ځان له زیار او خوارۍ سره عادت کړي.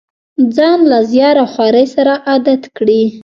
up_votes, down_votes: 1, 2